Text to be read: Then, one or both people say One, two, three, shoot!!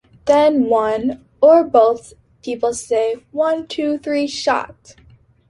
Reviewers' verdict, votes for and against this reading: rejected, 0, 2